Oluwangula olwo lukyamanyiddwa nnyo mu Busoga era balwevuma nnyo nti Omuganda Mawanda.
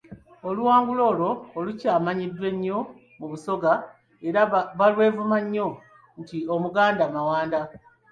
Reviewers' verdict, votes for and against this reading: rejected, 1, 2